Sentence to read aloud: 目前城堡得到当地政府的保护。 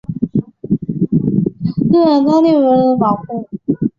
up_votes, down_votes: 0, 3